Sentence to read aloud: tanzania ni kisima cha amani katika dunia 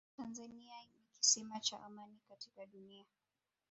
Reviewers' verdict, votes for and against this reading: rejected, 2, 3